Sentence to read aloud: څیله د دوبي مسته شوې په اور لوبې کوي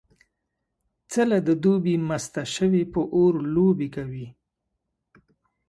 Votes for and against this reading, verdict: 2, 0, accepted